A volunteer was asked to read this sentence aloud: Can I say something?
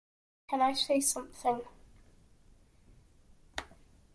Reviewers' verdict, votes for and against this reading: accepted, 2, 0